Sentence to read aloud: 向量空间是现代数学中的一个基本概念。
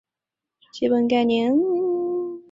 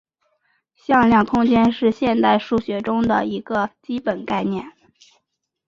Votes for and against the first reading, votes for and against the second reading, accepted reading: 2, 3, 2, 0, second